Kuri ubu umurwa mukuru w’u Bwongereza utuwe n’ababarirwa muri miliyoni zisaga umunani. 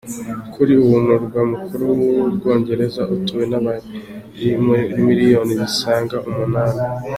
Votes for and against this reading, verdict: 1, 2, rejected